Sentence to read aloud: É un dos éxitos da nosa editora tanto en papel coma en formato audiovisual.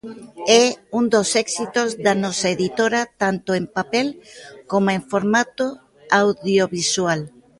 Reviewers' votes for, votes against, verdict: 2, 1, accepted